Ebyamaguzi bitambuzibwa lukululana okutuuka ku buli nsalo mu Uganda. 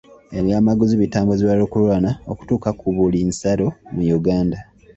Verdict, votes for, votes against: accepted, 2, 0